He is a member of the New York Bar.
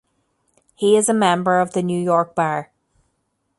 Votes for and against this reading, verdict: 2, 0, accepted